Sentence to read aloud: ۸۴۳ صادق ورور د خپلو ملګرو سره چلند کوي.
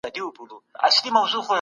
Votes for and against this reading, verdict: 0, 2, rejected